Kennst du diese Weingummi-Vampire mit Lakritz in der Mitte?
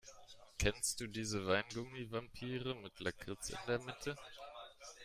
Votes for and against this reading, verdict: 1, 2, rejected